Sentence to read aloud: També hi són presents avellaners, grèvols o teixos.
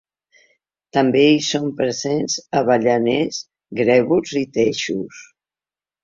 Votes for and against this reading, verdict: 1, 2, rejected